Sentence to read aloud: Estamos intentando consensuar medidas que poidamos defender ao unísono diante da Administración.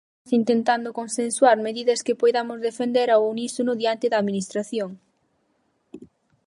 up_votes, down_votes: 0, 4